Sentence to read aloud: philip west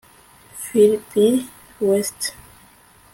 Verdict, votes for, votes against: rejected, 0, 2